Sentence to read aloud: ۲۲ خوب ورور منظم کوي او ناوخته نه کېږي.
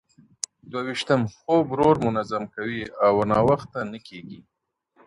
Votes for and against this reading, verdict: 0, 2, rejected